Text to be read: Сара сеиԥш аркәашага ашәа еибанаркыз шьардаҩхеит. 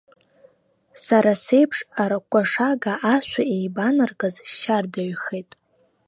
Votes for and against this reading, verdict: 0, 2, rejected